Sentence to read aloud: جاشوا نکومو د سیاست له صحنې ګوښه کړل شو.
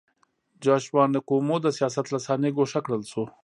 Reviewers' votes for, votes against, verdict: 2, 0, accepted